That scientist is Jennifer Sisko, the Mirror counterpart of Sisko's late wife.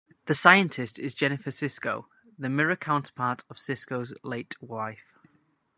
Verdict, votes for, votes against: accepted, 2, 0